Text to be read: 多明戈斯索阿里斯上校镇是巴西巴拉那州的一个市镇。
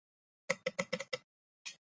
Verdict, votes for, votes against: rejected, 0, 3